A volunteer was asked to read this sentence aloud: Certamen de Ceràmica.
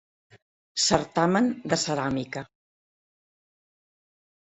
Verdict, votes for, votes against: accepted, 3, 0